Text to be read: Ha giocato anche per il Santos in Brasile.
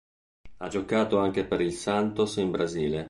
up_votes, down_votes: 2, 0